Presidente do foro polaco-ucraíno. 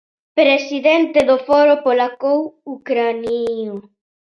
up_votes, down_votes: 0, 2